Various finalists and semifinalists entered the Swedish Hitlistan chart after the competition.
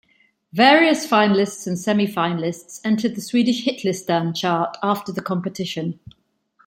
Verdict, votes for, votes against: rejected, 1, 2